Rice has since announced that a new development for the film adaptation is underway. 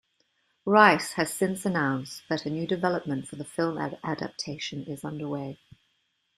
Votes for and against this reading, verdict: 1, 2, rejected